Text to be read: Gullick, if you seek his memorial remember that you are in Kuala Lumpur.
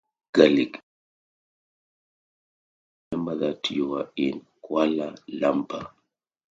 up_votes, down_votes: 0, 2